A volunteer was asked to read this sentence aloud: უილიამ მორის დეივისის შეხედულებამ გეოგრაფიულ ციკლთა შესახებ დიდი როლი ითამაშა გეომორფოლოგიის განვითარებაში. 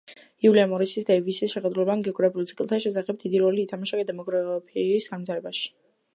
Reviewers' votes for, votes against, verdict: 0, 2, rejected